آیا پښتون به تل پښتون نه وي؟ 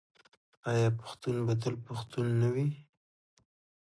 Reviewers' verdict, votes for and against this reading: accepted, 2, 0